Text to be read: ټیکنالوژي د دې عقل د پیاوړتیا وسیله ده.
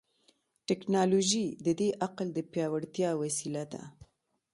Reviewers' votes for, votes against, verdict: 2, 0, accepted